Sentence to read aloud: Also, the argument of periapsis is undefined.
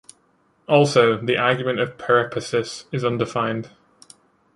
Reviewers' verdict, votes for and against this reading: rejected, 0, 2